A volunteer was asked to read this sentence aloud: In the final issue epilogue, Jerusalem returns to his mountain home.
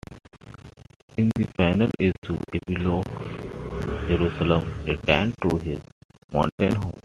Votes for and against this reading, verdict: 0, 2, rejected